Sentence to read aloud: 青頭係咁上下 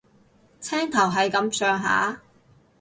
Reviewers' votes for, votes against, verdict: 2, 2, rejected